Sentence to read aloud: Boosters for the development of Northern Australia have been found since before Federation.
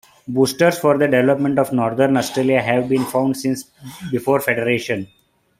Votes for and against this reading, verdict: 2, 0, accepted